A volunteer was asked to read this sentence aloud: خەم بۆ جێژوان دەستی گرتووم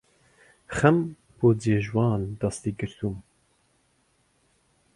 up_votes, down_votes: 2, 0